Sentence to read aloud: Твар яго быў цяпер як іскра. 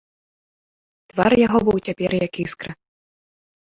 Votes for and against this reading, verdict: 0, 2, rejected